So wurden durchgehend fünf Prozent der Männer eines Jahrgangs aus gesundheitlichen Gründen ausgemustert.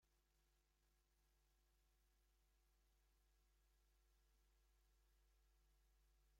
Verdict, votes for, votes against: rejected, 0, 2